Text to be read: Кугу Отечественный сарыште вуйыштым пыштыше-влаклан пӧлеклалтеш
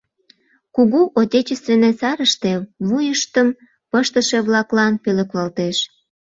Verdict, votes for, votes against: accepted, 2, 0